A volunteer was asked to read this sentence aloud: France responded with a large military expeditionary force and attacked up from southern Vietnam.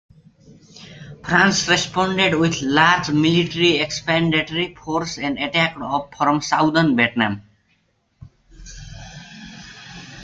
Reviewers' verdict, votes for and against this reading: accepted, 2, 0